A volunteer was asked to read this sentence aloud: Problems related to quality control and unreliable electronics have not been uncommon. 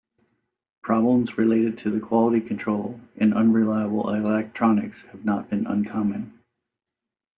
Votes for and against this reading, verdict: 0, 2, rejected